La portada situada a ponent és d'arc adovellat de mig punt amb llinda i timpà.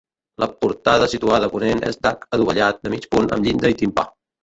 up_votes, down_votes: 1, 2